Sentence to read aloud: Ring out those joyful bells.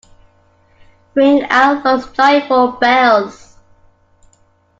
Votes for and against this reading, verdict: 2, 1, accepted